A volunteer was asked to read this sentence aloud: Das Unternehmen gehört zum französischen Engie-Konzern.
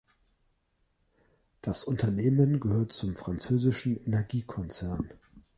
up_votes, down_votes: 0, 2